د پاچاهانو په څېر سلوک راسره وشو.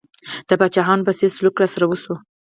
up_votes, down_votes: 4, 2